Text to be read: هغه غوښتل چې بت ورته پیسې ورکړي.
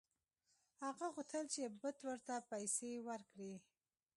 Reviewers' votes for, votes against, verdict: 2, 1, accepted